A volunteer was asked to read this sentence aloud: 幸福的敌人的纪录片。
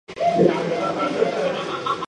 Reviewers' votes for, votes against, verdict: 0, 2, rejected